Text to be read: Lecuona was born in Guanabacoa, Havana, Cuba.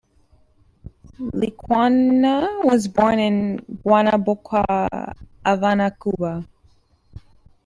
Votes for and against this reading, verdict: 1, 2, rejected